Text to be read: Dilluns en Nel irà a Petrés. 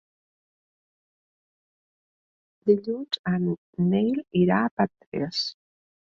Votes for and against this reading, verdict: 1, 2, rejected